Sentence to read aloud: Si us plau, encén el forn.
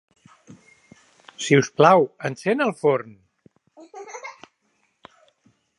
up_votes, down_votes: 0, 3